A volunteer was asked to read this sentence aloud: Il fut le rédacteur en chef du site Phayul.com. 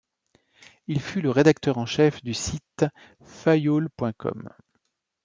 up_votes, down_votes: 2, 0